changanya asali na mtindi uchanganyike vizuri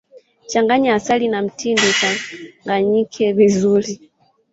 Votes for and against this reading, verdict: 0, 2, rejected